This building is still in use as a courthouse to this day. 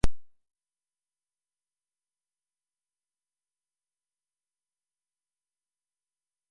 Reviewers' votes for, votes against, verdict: 0, 2, rejected